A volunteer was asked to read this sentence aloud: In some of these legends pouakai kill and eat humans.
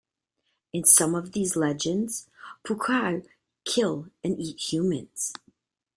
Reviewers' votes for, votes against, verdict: 2, 0, accepted